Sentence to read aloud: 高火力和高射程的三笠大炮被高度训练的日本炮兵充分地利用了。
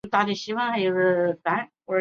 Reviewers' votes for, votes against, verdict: 0, 2, rejected